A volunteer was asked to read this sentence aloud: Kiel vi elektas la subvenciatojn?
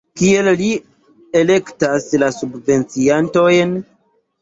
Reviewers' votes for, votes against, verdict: 1, 2, rejected